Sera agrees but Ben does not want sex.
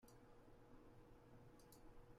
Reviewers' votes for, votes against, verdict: 0, 2, rejected